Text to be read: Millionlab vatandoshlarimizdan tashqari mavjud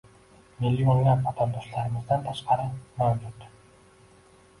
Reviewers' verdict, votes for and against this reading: rejected, 0, 2